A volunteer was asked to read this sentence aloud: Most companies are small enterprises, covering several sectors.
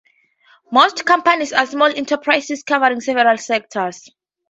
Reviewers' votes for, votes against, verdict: 2, 0, accepted